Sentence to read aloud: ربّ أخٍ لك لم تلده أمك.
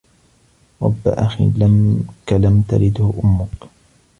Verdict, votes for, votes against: accepted, 2, 1